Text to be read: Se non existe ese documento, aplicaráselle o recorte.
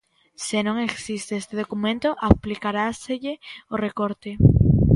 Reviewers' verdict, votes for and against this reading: rejected, 0, 2